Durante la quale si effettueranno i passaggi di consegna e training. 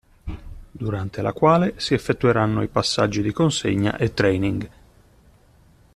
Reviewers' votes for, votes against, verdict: 2, 0, accepted